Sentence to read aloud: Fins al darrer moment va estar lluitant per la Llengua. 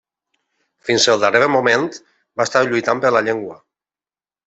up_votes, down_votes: 1, 2